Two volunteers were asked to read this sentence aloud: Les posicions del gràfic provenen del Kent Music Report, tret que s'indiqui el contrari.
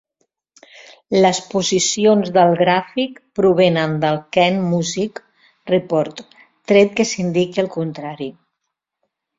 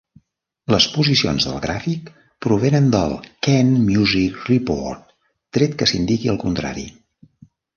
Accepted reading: first